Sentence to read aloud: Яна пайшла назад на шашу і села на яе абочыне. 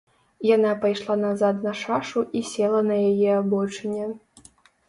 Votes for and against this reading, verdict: 0, 2, rejected